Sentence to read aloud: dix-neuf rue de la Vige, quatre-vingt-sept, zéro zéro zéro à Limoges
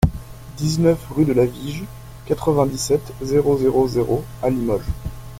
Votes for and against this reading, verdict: 1, 2, rejected